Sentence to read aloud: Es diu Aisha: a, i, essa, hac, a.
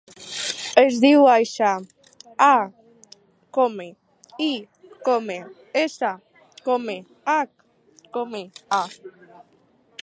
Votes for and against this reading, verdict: 2, 4, rejected